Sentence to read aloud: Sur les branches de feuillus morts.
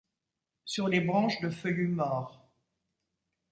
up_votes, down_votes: 2, 0